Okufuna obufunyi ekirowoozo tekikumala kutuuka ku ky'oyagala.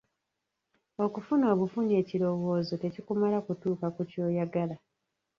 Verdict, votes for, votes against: rejected, 0, 2